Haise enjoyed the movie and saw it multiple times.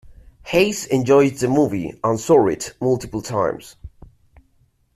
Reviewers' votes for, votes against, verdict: 2, 0, accepted